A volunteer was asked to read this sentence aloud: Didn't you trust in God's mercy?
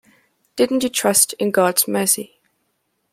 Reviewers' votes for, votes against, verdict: 2, 0, accepted